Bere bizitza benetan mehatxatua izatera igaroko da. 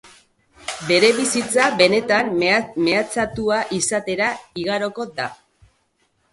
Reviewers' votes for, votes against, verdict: 0, 2, rejected